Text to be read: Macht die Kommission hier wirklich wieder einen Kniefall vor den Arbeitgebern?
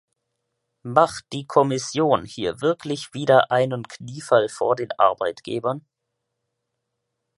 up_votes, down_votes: 2, 0